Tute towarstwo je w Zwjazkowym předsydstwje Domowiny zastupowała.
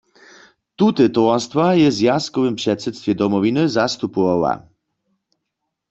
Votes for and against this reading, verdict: 0, 2, rejected